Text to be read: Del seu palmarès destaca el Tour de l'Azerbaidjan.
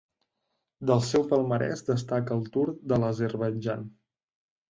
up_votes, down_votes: 3, 1